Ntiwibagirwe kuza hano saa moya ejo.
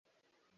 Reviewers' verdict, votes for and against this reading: rejected, 1, 2